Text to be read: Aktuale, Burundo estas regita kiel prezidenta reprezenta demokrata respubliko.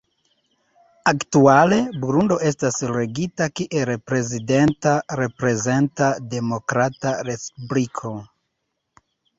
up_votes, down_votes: 2, 0